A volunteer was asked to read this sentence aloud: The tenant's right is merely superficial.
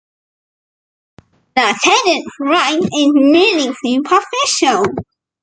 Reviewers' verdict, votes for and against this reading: accepted, 2, 1